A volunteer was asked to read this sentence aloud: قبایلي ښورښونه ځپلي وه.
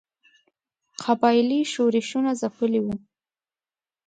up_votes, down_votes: 2, 0